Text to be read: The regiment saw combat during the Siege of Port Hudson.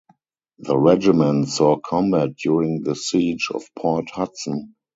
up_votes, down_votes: 2, 0